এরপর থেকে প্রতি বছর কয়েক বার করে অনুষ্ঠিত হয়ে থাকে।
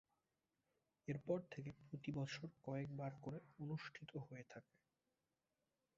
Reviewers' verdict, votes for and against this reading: rejected, 0, 4